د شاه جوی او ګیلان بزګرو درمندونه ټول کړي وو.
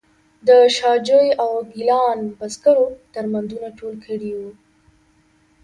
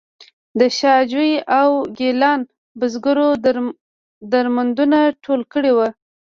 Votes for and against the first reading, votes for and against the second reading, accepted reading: 2, 0, 0, 2, first